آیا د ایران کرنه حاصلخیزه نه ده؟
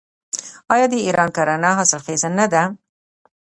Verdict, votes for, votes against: rejected, 1, 2